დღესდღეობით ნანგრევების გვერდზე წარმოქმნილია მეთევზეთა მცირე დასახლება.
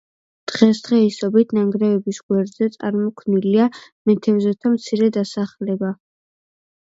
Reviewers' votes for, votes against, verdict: 2, 1, accepted